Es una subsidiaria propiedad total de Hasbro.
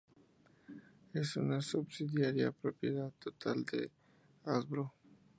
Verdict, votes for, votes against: accepted, 2, 0